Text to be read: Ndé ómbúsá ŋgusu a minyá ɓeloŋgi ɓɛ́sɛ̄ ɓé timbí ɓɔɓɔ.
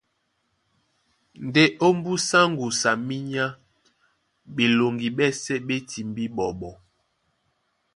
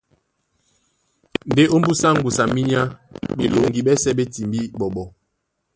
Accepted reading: first